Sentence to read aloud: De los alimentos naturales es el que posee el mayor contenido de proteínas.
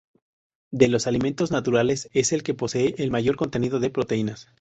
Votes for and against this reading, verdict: 4, 0, accepted